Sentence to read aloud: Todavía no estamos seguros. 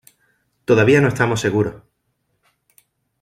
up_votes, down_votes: 3, 1